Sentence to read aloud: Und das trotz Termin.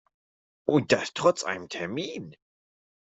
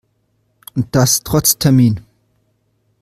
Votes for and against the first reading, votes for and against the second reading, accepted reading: 0, 2, 2, 0, second